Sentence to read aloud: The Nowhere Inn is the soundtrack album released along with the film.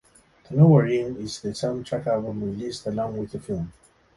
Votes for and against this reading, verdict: 2, 0, accepted